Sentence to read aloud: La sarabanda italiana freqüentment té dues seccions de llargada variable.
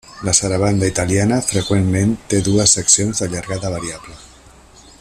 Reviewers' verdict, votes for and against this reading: accepted, 2, 0